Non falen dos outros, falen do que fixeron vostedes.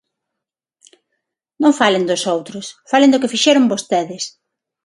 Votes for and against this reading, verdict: 6, 0, accepted